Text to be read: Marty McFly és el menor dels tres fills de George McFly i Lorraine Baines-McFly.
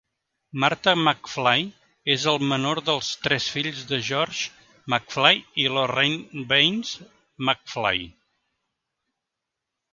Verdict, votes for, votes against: rejected, 1, 2